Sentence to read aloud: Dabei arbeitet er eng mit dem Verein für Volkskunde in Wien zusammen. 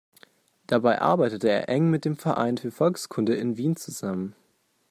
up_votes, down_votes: 2, 0